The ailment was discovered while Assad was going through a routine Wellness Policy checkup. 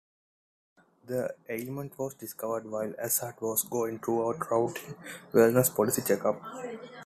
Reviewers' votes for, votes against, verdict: 1, 2, rejected